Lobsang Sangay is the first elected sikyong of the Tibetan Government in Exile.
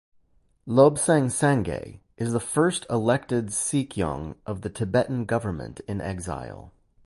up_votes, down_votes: 2, 0